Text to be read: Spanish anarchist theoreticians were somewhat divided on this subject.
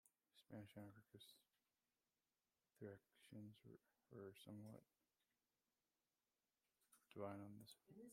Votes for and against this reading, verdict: 1, 2, rejected